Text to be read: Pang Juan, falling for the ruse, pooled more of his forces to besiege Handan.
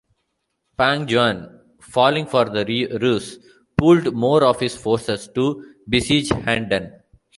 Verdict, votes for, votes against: rejected, 1, 2